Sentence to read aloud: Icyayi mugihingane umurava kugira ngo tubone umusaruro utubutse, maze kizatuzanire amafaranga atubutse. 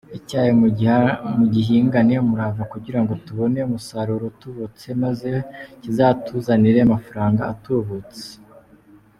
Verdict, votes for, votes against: rejected, 0, 2